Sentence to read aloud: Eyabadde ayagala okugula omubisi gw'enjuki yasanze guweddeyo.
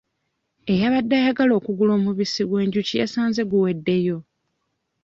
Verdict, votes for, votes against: accepted, 2, 0